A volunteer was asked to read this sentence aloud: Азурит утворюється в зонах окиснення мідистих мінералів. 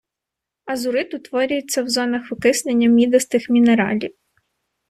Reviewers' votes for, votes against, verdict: 2, 0, accepted